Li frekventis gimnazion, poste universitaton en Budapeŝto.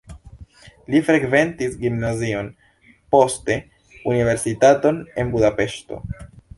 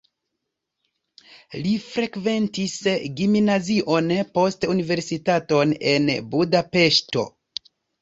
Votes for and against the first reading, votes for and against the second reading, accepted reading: 1, 2, 2, 1, second